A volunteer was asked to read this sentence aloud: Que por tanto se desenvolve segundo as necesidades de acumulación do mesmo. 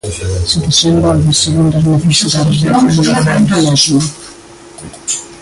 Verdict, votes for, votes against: rejected, 0, 2